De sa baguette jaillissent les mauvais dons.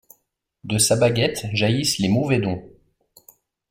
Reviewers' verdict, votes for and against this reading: accepted, 2, 0